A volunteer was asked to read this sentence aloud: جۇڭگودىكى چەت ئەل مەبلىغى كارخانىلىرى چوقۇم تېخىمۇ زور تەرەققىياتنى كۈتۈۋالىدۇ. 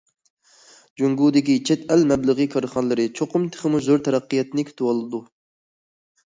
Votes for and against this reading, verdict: 2, 0, accepted